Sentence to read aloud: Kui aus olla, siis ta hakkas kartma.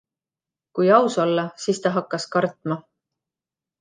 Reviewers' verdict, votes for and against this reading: accepted, 2, 0